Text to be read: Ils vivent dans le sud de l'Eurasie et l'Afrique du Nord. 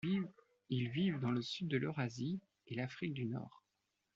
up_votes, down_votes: 1, 2